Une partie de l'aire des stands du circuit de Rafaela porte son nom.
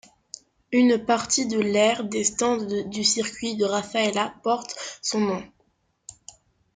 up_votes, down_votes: 2, 0